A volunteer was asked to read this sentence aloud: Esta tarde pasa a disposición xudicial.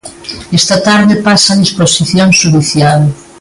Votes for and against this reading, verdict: 2, 1, accepted